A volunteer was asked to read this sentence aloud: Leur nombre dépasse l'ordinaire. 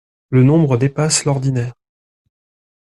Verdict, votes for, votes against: rejected, 1, 2